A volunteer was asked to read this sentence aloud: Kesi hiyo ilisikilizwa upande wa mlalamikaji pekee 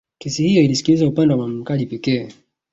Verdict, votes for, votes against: accepted, 3, 0